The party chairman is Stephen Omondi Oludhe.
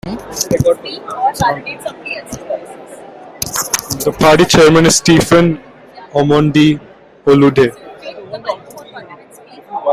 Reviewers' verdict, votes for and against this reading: rejected, 0, 2